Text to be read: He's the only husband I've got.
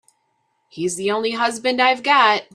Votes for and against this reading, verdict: 2, 0, accepted